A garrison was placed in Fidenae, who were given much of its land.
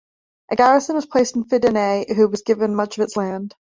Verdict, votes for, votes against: rejected, 1, 2